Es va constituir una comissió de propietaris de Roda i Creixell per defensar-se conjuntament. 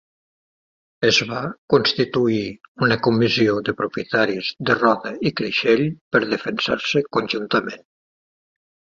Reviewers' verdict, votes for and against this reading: accepted, 2, 0